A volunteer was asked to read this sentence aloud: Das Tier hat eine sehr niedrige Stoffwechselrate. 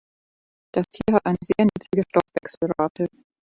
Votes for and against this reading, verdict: 0, 2, rejected